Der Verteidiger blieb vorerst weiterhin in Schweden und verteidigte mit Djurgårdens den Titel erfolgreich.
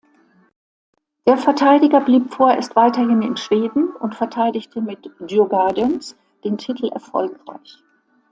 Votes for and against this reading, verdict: 2, 0, accepted